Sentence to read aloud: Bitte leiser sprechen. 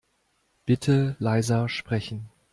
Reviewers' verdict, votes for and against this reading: accepted, 2, 0